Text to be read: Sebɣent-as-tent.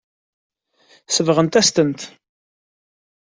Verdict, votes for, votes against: accepted, 2, 0